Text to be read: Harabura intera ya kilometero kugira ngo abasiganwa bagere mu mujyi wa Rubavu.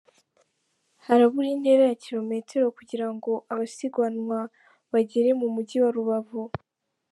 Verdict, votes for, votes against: rejected, 1, 2